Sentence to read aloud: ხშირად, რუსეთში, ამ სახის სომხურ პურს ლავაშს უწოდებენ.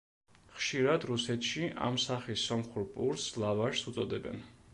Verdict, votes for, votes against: accepted, 2, 0